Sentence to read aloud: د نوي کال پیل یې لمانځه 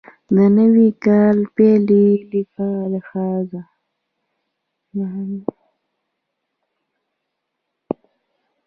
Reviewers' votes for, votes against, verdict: 0, 2, rejected